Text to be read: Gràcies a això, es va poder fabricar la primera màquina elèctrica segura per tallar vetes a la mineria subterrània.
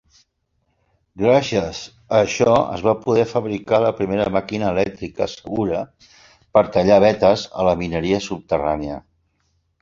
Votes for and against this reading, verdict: 2, 0, accepted